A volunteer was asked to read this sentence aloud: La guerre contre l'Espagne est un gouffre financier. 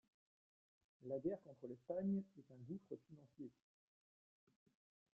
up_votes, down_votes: 0, 2